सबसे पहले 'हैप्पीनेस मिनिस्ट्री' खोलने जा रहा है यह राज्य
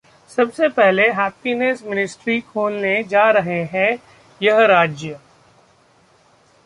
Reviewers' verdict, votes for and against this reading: rejected, 0, 2